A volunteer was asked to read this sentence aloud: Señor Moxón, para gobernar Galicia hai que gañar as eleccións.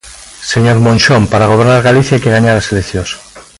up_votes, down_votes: 1, 2